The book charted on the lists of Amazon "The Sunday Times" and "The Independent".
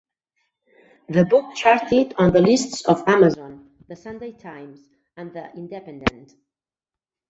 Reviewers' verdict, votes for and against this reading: rejected, 0, 2